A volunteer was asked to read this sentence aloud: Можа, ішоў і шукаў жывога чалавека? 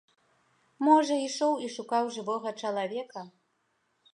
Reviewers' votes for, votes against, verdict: 2, 0, accepted